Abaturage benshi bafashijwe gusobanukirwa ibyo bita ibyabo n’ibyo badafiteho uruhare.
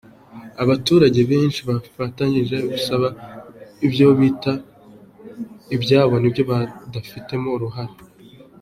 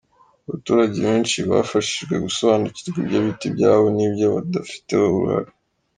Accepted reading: second